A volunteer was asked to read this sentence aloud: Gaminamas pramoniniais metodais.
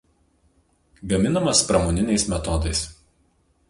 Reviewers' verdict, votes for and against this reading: rejected, 2, 2